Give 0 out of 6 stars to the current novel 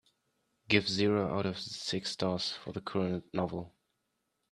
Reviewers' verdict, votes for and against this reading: rejected, 0, 2